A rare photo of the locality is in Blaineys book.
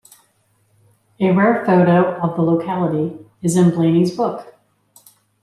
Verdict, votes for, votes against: accepted, 3, 0